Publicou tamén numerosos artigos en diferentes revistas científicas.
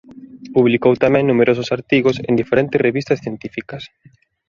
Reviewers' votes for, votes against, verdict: 2, 0, accepted